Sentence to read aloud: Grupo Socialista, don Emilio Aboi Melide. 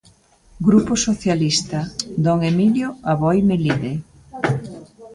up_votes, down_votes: 0, 2